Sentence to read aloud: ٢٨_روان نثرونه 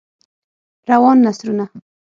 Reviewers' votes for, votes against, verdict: 0, 2, rejected